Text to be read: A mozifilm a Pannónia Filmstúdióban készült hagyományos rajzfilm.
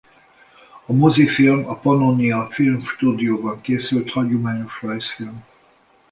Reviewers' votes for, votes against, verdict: 2, 0, accepted